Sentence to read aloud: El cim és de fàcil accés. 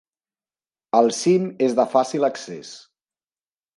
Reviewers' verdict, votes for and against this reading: accepted, 6, 0